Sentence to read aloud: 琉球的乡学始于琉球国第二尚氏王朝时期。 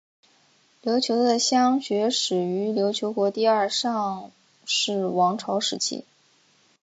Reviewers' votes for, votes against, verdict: 3, 0, accepted